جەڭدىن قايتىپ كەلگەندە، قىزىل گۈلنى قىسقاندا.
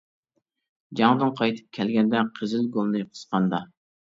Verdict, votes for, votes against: accepted, 2, 0